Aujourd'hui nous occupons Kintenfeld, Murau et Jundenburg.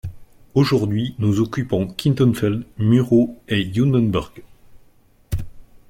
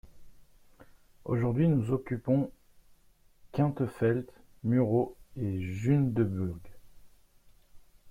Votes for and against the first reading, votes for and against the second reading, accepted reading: 4, 0, 1, 2, first